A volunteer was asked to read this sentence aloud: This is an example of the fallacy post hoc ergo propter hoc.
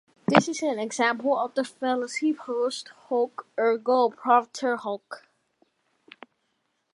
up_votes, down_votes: 2, 0